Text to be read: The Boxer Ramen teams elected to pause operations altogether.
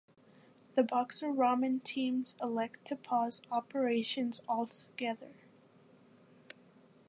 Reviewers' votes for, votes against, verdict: 2, 1, accepted